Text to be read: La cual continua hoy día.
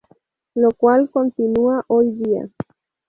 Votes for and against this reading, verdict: 0, 2, rejected